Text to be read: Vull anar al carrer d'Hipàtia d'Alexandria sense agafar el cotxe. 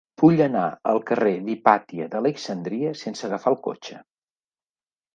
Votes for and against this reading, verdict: 2, 0, accepted